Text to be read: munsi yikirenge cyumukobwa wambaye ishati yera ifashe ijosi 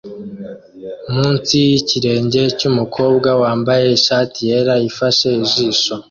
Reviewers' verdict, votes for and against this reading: rejected, 1, 2